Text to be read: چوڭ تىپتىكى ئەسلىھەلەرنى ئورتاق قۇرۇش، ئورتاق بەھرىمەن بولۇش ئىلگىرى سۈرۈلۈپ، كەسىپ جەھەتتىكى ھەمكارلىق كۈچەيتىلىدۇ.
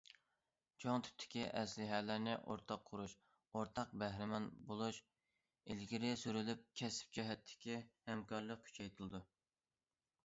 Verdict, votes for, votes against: accepted, 2, 0